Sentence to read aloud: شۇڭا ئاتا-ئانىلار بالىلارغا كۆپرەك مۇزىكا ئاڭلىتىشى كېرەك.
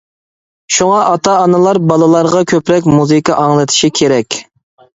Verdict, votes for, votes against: accepted, 2, 0